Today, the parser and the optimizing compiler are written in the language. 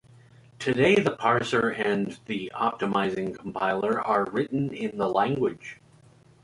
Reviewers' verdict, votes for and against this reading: accepted, 2, 0